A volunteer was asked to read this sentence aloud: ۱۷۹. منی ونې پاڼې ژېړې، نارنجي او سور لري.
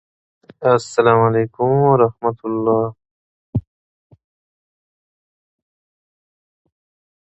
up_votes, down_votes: 0, 2